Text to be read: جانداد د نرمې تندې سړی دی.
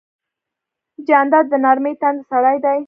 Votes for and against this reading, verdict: 1, 2, rejected